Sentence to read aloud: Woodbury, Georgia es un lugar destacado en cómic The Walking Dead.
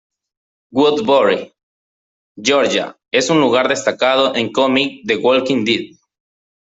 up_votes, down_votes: 1, 2